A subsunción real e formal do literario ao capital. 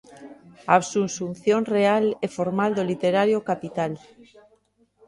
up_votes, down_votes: 1, 2